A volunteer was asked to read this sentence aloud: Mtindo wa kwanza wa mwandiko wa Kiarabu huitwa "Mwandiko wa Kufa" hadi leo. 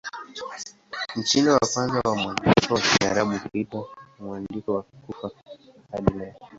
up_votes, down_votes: 6, 9